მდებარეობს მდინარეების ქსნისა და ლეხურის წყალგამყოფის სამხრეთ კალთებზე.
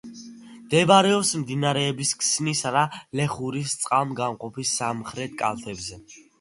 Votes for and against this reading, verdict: 2, 0, accepted